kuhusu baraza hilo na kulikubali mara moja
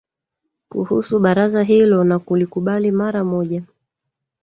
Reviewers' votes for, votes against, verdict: 1, 2, rejected